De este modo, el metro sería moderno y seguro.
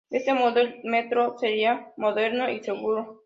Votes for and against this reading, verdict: 2, 0, accepted